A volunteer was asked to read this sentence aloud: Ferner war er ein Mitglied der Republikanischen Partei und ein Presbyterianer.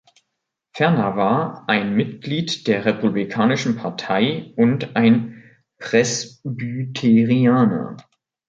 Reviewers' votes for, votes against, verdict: 1, 2, rejected